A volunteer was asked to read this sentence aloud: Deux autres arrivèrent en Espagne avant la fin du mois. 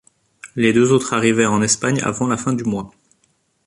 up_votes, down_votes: 1, 2